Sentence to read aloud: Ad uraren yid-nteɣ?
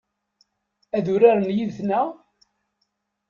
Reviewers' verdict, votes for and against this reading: rejected, 0, 2